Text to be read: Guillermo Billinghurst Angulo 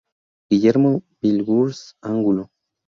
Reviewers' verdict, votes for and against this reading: rejected, 0, 2